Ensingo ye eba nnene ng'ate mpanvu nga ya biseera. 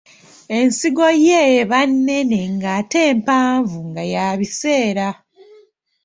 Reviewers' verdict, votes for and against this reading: rejected, 1, 2